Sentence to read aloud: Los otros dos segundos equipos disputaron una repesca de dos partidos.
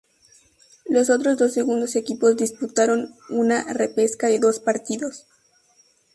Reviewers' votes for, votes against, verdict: 2, 2, rejected